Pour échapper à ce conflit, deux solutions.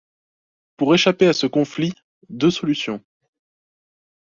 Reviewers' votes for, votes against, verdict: 2, 0, accepted